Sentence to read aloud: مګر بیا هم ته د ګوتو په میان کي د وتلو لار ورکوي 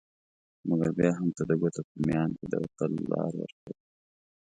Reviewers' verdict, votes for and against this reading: accepted, 2, 0